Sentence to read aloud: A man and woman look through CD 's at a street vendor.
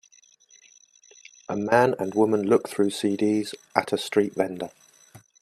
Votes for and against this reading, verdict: 0, 2, rejected